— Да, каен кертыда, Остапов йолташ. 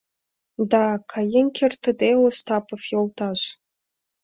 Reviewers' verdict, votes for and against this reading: rejected, 1, 2